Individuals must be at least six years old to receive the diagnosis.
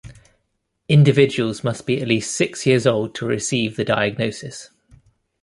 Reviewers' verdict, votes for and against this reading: accepted, 2, 0